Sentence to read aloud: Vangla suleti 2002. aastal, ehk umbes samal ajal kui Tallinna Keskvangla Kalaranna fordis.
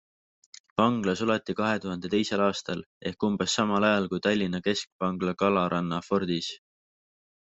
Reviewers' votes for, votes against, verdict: 0, 2, rejected